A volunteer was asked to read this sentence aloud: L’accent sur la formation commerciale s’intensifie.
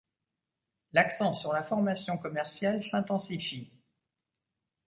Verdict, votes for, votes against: accepted, 2, 0